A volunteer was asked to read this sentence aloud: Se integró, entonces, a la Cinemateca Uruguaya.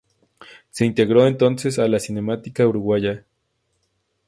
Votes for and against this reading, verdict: 2, 2, rejected